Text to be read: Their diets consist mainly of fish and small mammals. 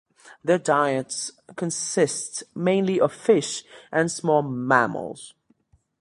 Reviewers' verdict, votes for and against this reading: accepted, 2, 0